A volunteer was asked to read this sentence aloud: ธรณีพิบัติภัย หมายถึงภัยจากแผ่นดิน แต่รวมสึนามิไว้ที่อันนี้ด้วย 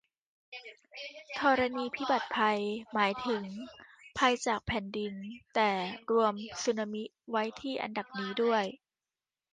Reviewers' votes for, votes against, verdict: 0, 2, rejected